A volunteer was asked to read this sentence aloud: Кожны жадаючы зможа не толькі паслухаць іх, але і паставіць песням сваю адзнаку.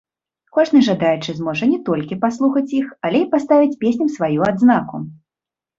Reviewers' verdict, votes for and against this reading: accepted, 2, 0